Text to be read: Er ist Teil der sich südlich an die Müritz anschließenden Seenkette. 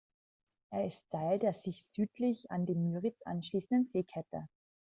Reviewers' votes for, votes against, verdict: 0, 2, rejected